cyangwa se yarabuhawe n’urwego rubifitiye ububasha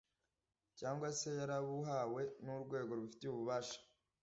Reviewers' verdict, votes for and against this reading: accepted, 2, 0